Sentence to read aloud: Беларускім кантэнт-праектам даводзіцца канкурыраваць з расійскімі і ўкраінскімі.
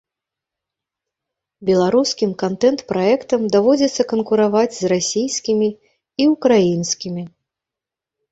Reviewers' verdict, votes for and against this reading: rejected, 1, 2